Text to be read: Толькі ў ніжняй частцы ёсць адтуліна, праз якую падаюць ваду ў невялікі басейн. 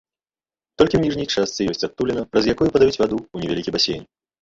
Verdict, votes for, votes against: accepted, 2, 0